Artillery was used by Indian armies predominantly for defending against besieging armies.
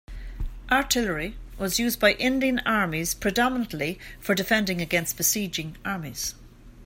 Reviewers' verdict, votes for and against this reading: accepted, 2, 0